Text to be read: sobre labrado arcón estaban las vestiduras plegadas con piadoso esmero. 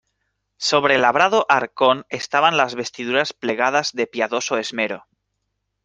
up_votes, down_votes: 1, 2